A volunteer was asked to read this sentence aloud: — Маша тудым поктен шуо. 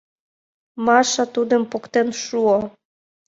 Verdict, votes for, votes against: accepted, 2, 0